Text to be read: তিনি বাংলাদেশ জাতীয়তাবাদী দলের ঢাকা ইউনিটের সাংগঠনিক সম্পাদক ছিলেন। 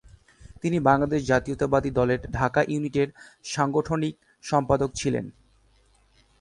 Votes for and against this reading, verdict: 7, 1, accepted